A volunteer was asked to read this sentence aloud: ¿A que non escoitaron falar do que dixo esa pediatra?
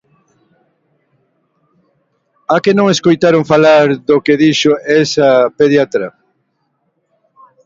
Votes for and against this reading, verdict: 2, 1, accepted